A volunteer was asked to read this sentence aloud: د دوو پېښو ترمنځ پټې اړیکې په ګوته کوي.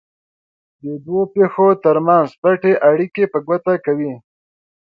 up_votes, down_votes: 2, 0